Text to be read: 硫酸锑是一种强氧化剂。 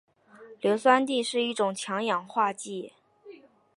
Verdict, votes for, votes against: accepted, 2, 0